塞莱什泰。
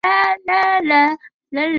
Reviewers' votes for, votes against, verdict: 1, 2, rejected